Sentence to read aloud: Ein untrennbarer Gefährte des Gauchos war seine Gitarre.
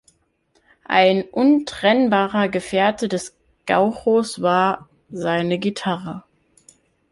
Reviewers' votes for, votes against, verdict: 1, 2, rejected